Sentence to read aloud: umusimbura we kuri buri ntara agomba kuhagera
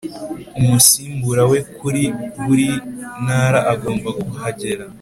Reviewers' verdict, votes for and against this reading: accepted, 3, 0